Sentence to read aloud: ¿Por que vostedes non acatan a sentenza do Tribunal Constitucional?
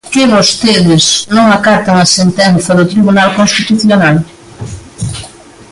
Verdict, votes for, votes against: rejected, 0, 2